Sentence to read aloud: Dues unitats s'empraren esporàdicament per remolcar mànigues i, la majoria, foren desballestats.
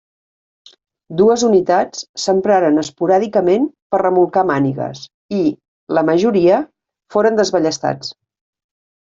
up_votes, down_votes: 3, 0